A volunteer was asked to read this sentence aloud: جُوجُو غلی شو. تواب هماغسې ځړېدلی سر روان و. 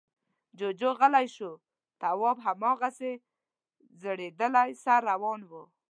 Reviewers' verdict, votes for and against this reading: accepted, 2, 0